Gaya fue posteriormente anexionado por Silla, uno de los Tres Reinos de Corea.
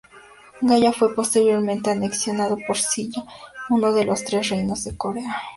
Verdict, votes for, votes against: accepted, 2, 0